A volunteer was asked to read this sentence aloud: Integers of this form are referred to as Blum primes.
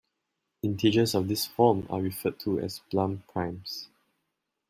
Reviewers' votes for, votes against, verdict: 2, 0, accepted